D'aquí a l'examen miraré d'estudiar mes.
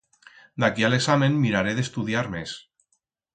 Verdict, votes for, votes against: accepted, 4, 0